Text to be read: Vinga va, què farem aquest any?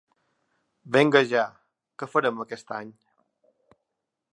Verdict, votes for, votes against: rejected, 1, 2